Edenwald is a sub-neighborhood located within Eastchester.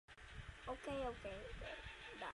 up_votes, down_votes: 0, 2